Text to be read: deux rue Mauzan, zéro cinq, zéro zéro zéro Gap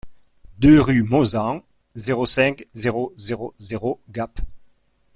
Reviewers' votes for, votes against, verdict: 2, 0, accepted